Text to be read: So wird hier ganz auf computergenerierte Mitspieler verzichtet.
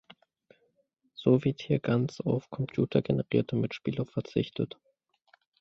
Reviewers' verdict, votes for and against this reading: accepted, 2, 0